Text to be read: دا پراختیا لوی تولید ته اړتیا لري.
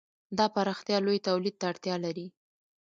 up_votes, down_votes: 0, 2